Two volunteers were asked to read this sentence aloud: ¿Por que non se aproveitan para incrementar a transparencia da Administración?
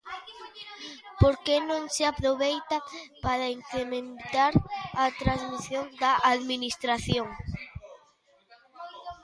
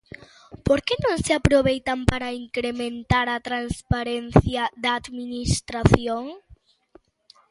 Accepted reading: second